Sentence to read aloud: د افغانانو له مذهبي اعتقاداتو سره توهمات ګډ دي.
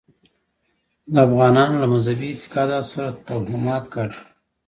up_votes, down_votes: 1, 2